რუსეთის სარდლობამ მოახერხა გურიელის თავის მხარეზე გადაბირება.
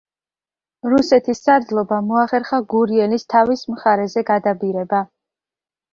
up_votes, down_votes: 2, 0